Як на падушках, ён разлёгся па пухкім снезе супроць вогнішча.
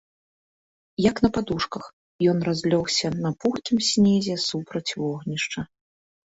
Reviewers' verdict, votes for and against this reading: rejected, 1, 2